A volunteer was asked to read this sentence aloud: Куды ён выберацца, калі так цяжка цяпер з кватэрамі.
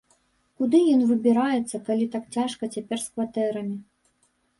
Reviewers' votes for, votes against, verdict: 1, 2, rejected